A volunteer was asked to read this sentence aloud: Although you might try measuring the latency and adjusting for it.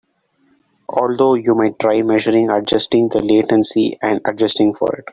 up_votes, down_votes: 2, 5